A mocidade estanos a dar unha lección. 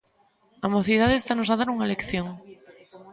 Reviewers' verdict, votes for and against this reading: rejected, 0, 2